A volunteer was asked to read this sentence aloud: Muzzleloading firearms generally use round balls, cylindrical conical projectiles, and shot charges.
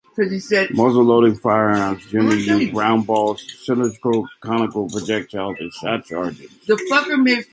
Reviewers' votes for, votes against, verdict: 1, 2, rejected